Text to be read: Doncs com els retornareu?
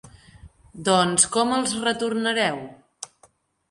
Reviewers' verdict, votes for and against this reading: accepted, 3, 0